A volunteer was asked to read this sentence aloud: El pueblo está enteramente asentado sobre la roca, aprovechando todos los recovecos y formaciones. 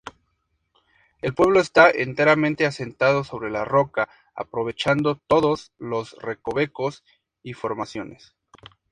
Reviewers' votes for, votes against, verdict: 2, 0, accepted